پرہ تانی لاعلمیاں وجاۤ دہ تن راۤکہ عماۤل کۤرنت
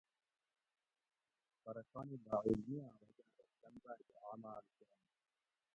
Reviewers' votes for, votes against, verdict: 0, 2, rejected